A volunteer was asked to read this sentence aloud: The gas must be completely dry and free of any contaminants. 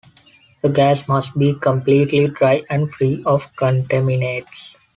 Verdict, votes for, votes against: rejected, 0, 2